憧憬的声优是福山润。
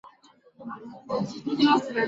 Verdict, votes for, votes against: accepted, 3, 2